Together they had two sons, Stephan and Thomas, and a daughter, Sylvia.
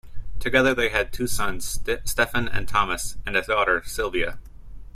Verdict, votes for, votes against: accepted, 2, 0